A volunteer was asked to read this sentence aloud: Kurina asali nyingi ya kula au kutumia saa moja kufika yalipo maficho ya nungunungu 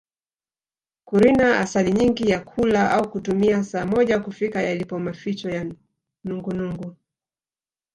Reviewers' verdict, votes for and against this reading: rejected, 0, 2